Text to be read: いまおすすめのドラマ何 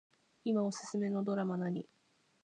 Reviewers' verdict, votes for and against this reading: accepted, 2, 0